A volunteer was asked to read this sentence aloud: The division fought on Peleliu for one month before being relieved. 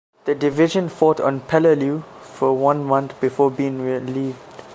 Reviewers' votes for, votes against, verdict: 2, 0, accepted